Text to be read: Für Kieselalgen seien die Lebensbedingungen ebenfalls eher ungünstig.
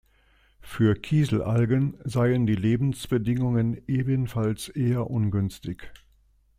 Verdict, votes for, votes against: accepted, 2, 0